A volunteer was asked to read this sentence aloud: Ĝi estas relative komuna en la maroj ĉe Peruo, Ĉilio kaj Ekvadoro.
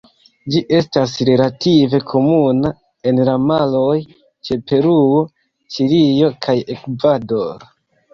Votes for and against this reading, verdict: 1, 2, rejected